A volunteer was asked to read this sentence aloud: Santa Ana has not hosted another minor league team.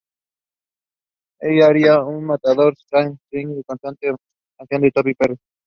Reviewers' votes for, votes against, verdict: 0, 2, rejected